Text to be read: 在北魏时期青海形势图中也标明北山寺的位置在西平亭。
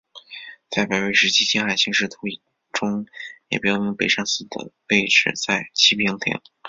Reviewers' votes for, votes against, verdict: 2, 3, rejected